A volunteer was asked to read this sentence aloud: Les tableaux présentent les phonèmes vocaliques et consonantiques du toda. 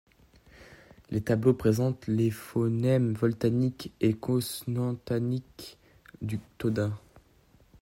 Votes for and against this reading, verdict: 0, 2, rejected